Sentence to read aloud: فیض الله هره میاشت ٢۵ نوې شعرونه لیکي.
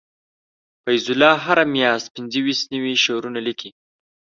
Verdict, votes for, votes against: rejected, 0, 2